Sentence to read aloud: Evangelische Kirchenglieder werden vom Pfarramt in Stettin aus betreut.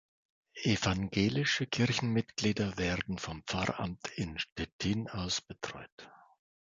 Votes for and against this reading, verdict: 1, 2, rejected